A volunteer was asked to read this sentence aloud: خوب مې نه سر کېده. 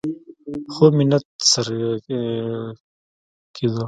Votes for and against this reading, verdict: 1, 2, rejected